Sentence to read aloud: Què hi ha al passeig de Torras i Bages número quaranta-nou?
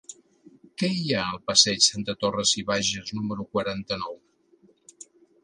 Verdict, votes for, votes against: accepted, 2, 0